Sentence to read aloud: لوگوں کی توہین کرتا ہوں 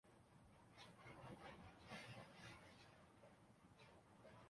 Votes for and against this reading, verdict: 0, 2, rejected